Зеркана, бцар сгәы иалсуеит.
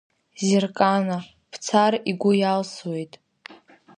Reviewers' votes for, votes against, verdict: 1, 2, rejected